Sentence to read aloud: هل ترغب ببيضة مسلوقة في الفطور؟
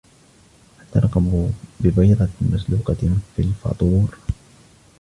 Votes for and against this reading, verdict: 1, 2, rejected